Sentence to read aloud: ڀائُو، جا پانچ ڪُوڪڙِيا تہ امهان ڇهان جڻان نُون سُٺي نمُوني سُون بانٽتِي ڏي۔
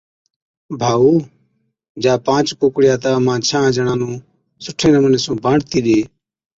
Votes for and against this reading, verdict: 2, 0, accepted